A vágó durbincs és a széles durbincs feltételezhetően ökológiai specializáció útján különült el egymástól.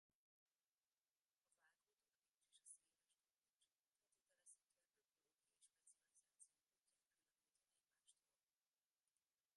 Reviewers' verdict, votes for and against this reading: rejected, 0, 2